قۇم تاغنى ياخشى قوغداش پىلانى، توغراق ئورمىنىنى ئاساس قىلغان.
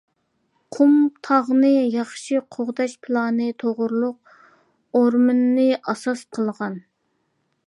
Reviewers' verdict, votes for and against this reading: rejected, 0, 2